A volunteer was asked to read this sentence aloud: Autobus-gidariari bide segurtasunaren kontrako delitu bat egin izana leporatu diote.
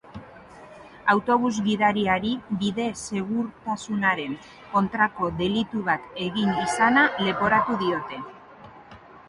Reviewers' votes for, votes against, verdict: 2, 3, rejected